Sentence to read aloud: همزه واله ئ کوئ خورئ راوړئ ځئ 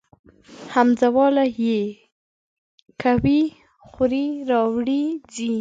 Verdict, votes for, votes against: rejected, 1, 2